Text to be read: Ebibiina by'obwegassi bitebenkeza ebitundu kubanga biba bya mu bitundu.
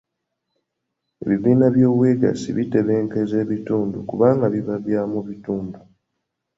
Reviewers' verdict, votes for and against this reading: accepted, 2, 1